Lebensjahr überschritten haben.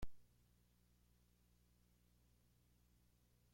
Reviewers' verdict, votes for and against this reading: rejected, 0, 2